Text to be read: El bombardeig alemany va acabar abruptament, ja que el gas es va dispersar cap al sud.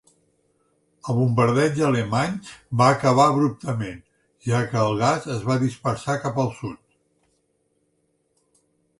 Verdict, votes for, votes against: accepted, 3, 0